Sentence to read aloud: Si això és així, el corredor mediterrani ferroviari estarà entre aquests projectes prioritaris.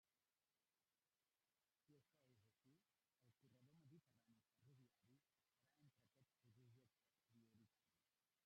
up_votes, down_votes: 0, 2